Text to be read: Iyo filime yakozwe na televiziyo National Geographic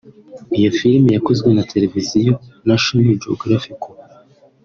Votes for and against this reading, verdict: 2, 0, accepted